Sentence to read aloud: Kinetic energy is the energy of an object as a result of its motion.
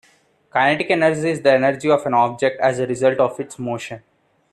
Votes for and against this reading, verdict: 2, 0, accepted